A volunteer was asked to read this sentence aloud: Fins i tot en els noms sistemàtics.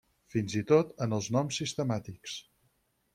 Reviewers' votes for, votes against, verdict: 6, 0, accepted